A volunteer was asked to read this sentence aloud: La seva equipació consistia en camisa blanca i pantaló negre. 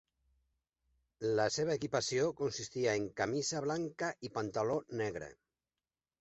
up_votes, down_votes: 2, 0